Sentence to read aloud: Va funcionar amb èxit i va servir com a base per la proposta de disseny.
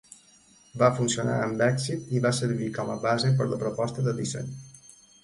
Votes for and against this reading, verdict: 2, 0, accepted